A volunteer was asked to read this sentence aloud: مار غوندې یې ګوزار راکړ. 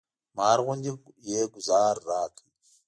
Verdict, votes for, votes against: accepted, 2, 0